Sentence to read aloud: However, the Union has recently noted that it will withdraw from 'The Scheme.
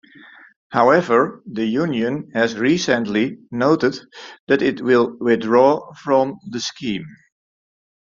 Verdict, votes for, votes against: rejected, 0, 2